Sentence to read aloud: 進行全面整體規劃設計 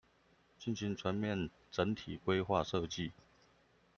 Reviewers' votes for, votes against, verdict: 2, 0, accepted